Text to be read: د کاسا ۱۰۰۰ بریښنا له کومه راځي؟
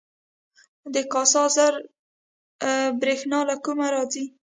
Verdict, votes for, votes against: rejected, 0, 2